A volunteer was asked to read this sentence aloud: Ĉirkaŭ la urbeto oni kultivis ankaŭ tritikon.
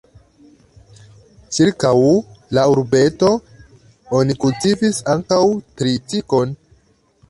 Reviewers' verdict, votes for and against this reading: rejected, 1, 2